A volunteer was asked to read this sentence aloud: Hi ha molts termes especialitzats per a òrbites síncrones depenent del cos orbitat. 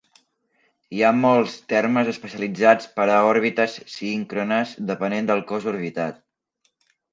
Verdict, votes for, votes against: rejected, 1, 2